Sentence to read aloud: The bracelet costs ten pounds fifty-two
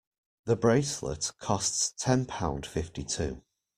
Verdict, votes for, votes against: rejected, 0, 2